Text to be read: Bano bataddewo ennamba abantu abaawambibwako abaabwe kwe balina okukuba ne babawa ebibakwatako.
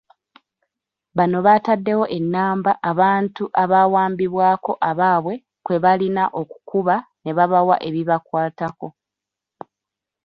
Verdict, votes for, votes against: accepted, 2, 1